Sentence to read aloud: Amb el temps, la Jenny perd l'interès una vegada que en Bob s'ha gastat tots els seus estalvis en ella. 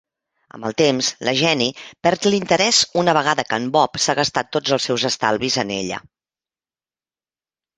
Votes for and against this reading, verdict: 2, 0, accepted